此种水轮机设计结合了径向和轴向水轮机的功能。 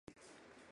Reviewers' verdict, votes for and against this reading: rejected, 0, 3